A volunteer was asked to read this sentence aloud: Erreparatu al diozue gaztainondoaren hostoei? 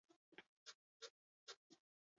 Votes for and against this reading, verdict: 0, 4, rejected